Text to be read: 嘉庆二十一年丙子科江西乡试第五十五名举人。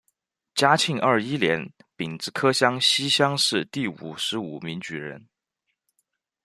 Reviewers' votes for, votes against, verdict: 0, 2, rejected